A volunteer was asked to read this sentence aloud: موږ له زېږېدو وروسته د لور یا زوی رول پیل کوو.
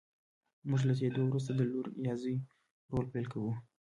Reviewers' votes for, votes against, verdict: 2, 0, accepted